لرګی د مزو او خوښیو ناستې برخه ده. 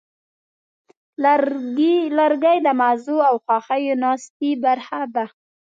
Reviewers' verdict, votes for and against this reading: rejected, 0, 2